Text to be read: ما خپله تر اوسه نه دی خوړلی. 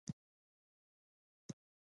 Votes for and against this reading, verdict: 0, 2, rejected